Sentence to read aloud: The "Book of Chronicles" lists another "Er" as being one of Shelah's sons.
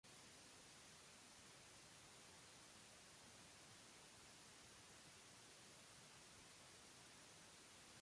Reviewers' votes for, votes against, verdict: 0, 2, rejected